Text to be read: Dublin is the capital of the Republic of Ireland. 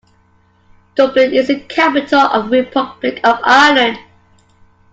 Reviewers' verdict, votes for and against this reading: accepted, 2, 0